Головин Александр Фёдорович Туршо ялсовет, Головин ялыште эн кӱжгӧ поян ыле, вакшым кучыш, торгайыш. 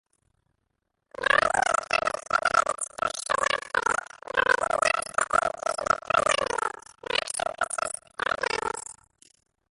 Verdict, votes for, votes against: rejected, 0, 2